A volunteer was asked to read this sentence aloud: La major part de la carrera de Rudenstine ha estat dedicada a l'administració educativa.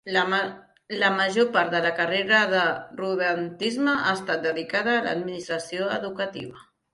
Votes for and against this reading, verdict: 0, 2, rejected